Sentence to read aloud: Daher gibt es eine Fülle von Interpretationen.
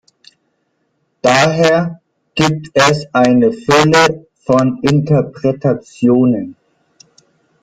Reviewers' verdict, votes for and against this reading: rejected, 0, 2